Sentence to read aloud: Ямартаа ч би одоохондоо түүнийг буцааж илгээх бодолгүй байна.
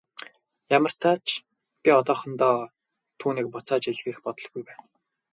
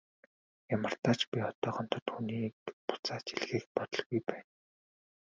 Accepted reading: second